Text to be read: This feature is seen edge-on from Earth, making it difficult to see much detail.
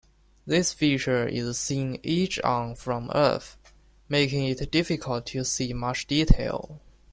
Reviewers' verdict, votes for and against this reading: rejected, 1, 2